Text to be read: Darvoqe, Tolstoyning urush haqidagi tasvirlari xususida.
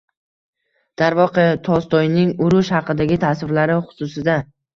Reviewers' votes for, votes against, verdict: 1, 2, rejected